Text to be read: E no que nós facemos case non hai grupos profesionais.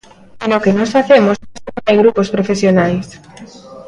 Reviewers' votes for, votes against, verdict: 0, 2, rejected